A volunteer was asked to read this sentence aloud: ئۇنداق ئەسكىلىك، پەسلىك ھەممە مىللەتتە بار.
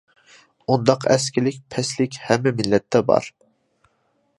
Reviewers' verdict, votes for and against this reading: accepted, 2, 0